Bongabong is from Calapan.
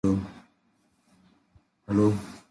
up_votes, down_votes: 0, 2